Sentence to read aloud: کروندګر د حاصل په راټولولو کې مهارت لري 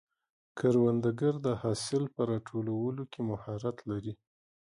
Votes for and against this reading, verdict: 3, 0, accepted